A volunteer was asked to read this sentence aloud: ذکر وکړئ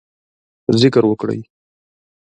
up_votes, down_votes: 2, 0